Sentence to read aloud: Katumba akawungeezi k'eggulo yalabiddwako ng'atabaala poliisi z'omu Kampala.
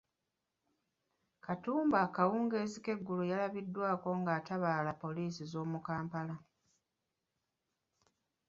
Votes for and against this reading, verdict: 1, 2, rejected